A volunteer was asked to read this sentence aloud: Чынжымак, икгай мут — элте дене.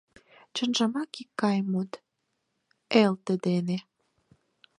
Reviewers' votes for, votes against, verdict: 4, 0, accepted